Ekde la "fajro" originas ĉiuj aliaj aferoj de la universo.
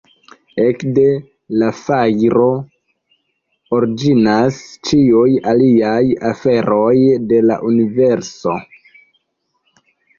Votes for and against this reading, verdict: 0, 2, rejected